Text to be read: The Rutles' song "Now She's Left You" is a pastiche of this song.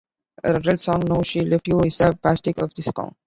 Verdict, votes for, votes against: rejected, 0, 2